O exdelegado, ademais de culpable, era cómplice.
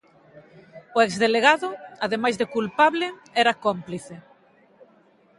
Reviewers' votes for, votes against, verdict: 12, 0, accepted